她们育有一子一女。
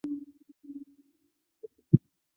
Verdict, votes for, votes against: rejected, 0, 3